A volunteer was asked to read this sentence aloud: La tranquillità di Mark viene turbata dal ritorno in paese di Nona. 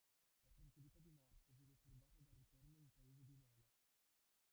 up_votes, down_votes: 0, 2